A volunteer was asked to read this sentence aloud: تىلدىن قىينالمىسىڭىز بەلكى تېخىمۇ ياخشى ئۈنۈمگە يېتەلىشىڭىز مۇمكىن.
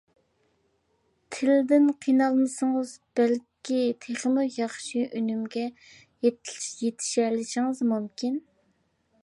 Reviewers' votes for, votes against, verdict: 0, 2, rejected